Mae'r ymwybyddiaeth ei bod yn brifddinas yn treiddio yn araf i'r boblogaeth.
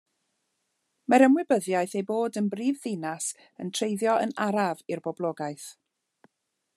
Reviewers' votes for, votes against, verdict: 2, 1, accepted